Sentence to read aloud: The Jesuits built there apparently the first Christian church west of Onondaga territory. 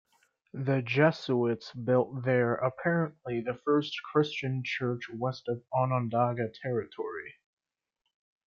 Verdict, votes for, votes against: accepted, 2, 0